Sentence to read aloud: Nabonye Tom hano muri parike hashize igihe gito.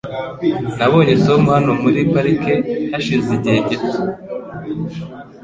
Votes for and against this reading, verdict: 2, 0, accepted